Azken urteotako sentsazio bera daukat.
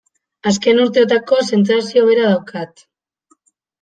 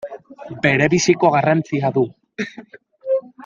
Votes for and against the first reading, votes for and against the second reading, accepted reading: 2, 0, 0, 2, first